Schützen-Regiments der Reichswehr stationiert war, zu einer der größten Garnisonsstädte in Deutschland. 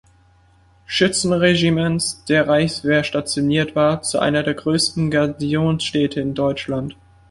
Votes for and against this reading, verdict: 1, 2, rejected